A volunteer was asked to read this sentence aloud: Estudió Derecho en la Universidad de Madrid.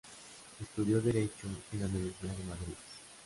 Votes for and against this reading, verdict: 2, 0, accepted